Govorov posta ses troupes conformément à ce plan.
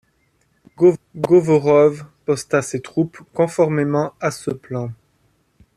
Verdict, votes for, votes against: rejected, 1, 2